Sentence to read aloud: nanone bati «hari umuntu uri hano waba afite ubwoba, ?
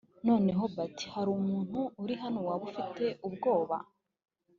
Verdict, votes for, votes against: rejected, 1, 2